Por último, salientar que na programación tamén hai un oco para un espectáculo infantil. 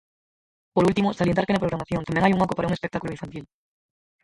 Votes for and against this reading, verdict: 0, 4, rejected